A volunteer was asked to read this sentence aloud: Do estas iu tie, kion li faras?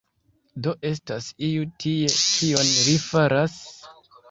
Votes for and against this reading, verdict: 1, 2, rejected